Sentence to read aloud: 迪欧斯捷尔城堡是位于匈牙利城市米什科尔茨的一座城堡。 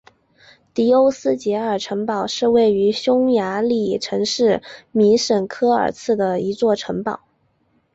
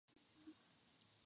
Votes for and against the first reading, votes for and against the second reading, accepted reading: 2, 0, 0, 2, first